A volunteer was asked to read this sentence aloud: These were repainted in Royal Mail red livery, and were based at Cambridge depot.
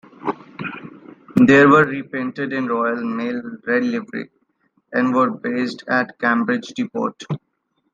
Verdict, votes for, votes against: accepted, 2, 0